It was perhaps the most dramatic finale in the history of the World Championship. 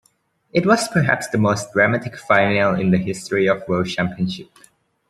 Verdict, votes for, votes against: rejected, 0, 2